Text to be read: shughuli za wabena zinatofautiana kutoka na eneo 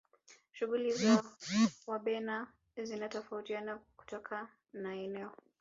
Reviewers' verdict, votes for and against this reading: rejected, 1, 2